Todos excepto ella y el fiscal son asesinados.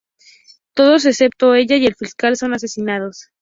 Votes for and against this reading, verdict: 2, 0, accepted